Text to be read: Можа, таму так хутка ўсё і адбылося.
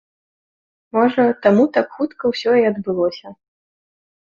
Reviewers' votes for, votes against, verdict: 2, 0, accepted